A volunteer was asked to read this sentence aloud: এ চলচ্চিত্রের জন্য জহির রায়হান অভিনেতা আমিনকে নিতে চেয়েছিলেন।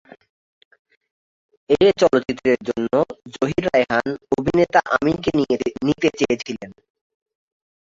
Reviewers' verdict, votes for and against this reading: rejected, 0, 2